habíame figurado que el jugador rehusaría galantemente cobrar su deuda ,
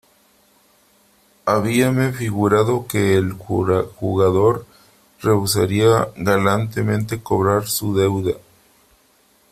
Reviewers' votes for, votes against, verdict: 0, 3, rejected